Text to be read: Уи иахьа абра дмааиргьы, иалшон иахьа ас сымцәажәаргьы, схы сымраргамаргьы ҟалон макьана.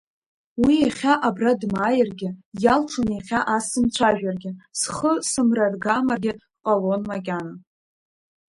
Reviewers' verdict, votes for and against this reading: accepted, 2, 0